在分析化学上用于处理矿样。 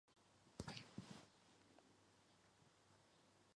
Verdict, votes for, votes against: rejected, 1, 4